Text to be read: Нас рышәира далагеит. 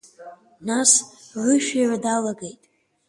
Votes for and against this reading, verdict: 2, 1, accepted